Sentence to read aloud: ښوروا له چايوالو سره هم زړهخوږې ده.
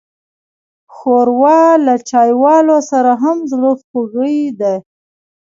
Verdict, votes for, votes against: rejected, 0, 2